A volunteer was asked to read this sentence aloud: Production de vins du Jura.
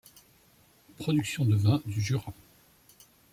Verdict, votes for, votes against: rejected, 1, 2